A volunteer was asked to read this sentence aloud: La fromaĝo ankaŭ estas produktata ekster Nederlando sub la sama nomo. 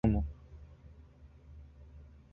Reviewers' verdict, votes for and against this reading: rejected, 1, 2